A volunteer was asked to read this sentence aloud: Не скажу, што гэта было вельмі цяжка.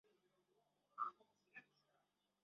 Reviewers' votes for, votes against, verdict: 0, 2, rejected